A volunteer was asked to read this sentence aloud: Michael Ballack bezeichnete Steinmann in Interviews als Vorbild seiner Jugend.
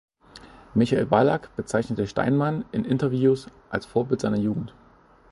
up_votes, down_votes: 2, 0